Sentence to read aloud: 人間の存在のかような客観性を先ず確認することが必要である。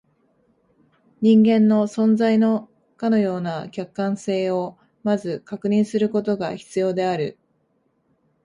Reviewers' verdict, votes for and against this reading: accepted, 2, 0